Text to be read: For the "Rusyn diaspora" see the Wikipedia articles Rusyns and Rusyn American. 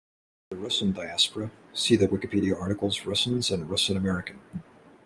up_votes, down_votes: 0, 2